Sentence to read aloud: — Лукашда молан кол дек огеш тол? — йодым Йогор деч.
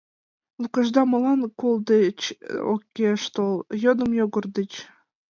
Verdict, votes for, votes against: rejected, 1, 2